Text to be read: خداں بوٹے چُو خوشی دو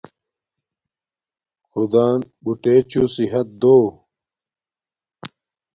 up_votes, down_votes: 1, 2